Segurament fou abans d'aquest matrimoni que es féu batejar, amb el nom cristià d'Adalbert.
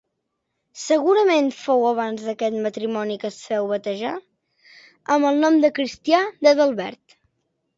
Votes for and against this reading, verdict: 1, 2, rejected